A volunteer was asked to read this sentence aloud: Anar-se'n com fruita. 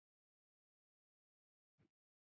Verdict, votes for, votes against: rejected, 1, 2